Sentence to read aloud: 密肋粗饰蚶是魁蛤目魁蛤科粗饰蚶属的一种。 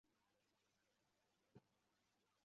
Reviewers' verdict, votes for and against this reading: accepted, 3, 1